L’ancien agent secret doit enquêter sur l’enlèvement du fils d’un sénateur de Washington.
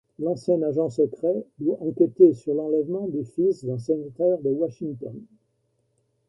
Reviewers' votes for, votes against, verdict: 2, 0, accepted